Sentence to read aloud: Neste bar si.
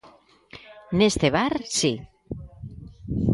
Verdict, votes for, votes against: rejected, 1, 2